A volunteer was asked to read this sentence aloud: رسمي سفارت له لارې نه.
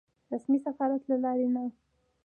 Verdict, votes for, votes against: rejected, 0, 2